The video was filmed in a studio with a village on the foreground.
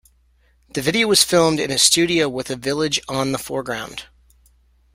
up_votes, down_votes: 2, 0